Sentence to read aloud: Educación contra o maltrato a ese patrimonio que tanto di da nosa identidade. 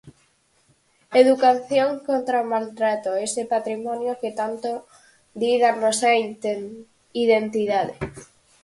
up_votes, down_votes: 0, 4